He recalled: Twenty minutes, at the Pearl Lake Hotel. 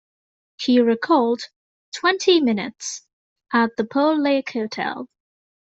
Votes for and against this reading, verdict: 2, 0, accepted